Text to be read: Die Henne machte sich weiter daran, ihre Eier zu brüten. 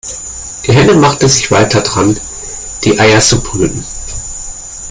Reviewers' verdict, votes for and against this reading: rejected, 0, 2